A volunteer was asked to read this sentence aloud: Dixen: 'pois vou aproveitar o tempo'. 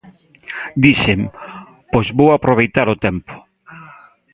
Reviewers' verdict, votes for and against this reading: accepted, 2, 0